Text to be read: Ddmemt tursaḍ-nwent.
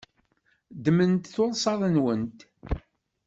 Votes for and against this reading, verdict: 1, 2, rejected